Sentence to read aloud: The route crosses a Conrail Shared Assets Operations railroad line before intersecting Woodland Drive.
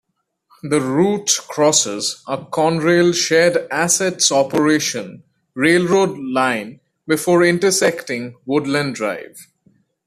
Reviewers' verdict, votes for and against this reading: rejected, 1, 2